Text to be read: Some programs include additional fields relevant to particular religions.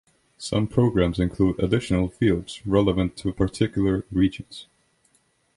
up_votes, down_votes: 2, 1